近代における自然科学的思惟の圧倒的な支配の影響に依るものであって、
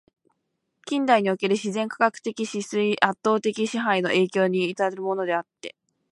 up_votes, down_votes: 1, 2